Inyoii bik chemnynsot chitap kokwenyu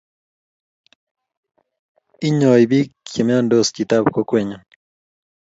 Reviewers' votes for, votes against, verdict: 4, 0, accepted